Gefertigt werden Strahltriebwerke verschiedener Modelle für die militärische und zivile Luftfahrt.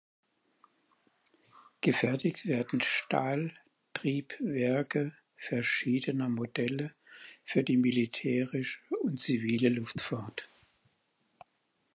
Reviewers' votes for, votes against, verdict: 0, 4, rejected